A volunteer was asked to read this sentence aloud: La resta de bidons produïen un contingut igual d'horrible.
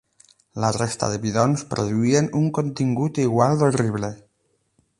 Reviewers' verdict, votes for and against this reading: accepted, 8, 0